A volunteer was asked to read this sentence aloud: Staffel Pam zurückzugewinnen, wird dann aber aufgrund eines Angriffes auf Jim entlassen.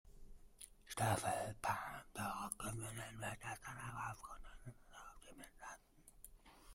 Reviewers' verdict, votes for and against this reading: rejected, 0, 2